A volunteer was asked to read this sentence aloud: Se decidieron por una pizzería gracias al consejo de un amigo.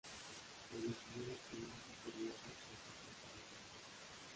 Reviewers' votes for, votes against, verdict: 0, 2, rejected